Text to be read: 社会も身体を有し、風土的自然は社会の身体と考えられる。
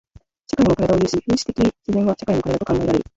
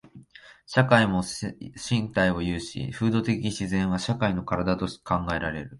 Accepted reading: second